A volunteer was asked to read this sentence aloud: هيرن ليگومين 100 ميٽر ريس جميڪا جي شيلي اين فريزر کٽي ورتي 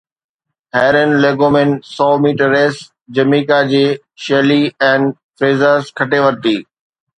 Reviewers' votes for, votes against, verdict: 0, 2, rejected